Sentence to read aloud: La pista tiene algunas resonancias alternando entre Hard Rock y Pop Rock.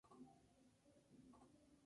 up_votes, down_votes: 0, 4